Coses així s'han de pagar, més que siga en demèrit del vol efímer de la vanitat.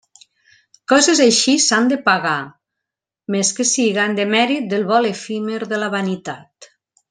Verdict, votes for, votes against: accepted, 2, 0